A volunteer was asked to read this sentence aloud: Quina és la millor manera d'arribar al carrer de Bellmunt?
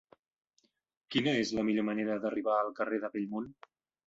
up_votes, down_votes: 4, 0